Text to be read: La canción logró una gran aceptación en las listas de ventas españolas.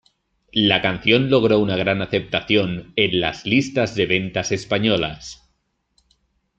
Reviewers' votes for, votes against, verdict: 2, 0, accepted